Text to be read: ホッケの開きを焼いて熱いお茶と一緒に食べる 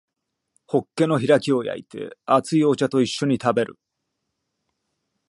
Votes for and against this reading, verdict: 2, 0, accepted